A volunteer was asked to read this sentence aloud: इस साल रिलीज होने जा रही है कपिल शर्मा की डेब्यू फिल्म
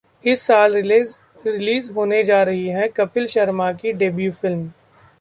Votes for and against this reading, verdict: 0, 2, rejected